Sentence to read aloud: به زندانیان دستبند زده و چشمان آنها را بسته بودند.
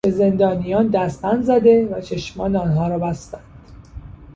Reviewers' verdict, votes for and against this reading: rejected, 0, 2